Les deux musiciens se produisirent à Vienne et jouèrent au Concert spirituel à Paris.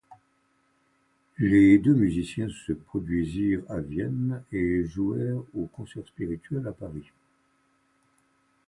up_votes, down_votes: 0, 2